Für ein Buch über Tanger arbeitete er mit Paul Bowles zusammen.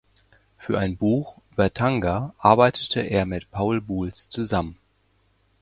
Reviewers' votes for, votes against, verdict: 1, 2, rejected